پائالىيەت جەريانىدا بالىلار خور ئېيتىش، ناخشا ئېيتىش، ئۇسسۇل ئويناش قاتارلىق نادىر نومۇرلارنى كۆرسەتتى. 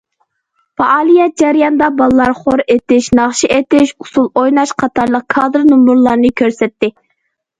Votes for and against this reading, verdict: 1, 2, rejected